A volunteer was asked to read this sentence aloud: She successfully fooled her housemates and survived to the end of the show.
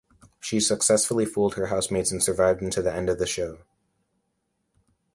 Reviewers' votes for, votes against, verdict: 0, 2, rejected